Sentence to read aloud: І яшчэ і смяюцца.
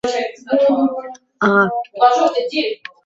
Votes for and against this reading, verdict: 0, 2, rejected